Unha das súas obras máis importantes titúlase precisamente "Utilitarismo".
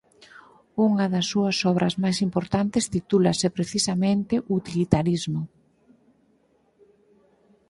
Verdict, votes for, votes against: accepted, 4, 0